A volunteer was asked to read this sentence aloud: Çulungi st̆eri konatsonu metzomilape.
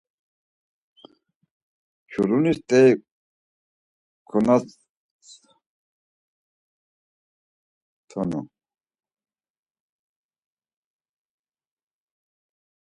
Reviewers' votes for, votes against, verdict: 0, 4, rejected